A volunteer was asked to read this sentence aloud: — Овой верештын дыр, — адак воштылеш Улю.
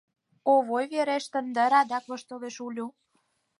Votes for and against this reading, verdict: 6, 0, accepted